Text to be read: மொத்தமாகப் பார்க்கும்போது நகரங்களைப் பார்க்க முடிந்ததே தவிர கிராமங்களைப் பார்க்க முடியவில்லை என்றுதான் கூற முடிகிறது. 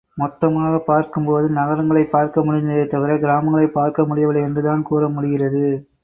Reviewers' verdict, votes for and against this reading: accepted, 2, 0